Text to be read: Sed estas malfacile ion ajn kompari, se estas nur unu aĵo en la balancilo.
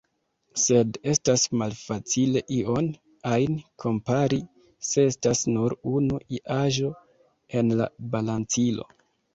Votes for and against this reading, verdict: 1, 2, rejected